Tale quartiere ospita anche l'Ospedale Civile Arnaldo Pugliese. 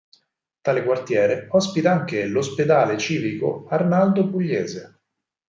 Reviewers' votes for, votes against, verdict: 0, 4, rejected